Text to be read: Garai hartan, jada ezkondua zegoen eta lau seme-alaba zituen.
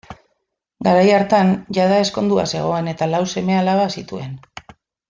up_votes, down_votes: 1, 2